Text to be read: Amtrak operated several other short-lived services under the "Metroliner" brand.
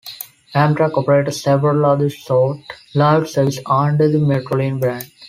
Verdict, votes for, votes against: rejected, 0, 2